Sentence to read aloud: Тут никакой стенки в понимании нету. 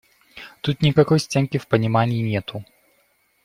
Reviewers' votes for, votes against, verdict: 2, 0, accepted